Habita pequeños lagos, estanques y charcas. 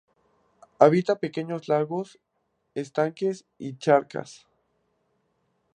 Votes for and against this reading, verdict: 2, 0, accepted